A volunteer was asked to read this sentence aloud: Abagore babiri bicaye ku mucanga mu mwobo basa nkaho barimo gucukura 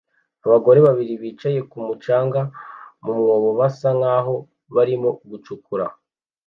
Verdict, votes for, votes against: accepted, 2, 0